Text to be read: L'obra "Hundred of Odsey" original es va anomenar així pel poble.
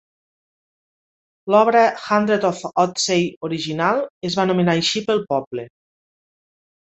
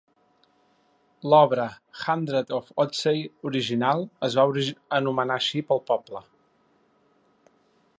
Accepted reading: first